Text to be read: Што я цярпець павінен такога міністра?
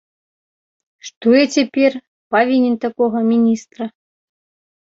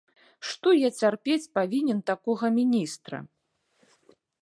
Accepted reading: second